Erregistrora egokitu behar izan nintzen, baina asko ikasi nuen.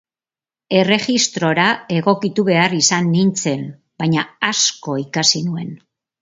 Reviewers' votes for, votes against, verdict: 7, 0, accepted